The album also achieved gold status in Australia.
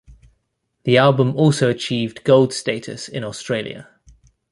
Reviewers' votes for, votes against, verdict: 2, 0, accepted